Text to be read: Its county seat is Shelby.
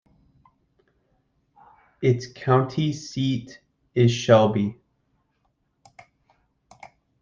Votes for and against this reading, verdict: 2, 0, accepted